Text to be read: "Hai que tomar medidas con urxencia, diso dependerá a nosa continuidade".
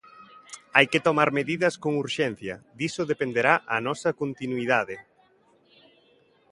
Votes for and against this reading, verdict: 2, 0, accepted